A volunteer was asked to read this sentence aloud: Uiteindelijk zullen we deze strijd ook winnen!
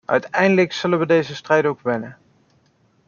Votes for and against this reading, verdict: 2, 0, accepted